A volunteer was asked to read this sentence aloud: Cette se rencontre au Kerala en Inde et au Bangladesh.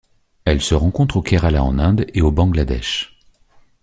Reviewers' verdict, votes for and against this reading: rejected, 1, 2